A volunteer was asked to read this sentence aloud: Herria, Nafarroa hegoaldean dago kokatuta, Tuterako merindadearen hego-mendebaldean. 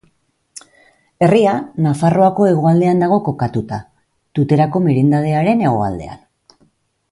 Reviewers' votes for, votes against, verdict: 1, 2, rejected